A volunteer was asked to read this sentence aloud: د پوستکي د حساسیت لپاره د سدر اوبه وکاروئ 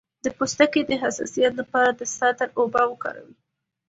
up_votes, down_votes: 2, 0